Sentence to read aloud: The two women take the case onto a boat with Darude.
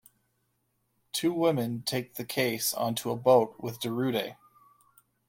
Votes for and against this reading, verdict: 1, 2, rejected